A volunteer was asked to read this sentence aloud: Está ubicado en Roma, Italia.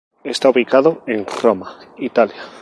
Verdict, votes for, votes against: rejected, 0, 2